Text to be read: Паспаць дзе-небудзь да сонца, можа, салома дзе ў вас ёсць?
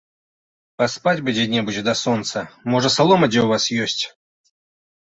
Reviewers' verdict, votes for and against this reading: rejected, 1, 2